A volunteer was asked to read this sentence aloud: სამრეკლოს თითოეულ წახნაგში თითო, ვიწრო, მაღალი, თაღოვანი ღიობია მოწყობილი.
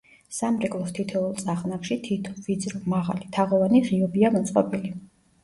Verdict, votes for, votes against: accepted, 2, 0